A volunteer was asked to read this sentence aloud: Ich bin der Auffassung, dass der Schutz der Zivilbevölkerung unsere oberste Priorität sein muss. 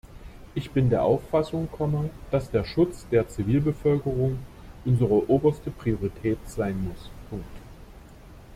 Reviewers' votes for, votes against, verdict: 0, 2, rejected